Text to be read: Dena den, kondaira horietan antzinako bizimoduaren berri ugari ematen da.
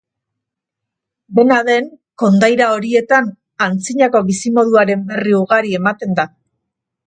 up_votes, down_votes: 3, 0